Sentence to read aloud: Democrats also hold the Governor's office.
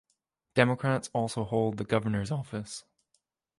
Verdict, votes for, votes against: accepted, 2, 0